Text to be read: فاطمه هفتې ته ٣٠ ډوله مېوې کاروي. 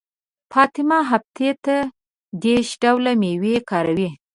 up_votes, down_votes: 0, 2